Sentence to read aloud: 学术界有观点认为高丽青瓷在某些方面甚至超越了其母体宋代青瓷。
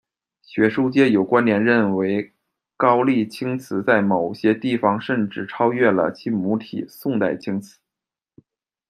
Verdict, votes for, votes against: rejected, 1, 2